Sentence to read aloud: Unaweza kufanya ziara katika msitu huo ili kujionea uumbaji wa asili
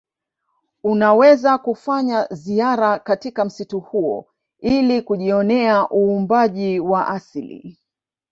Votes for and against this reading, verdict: 2, 0, accepted